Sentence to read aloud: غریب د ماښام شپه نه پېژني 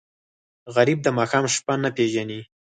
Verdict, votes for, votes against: accepted, 4, 0